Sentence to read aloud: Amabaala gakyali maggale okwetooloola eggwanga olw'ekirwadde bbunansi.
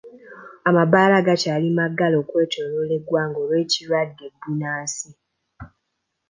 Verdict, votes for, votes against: accepted, 2, 0